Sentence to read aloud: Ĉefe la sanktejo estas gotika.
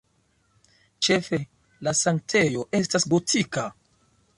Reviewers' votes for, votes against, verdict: 2, 1, accepted